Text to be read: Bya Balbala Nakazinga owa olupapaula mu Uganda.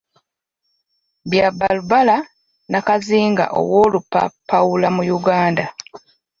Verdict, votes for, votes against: rejected, 0, 2